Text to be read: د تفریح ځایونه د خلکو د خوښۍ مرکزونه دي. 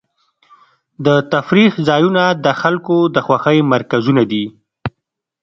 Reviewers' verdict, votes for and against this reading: accepted, 2, 0